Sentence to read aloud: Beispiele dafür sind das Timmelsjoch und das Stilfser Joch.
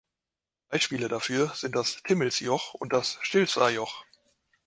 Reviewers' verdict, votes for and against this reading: accepted, 3, 2